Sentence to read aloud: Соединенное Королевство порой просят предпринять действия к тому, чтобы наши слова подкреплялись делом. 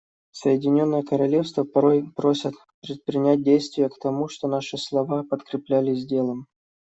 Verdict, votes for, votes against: rejected, 0, 2